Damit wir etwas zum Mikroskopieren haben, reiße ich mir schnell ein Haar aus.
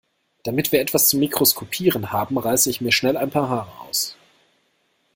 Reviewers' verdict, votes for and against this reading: rejected, 0, 2